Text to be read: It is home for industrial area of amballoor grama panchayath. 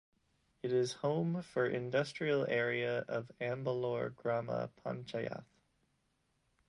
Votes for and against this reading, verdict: 1, 2, rejected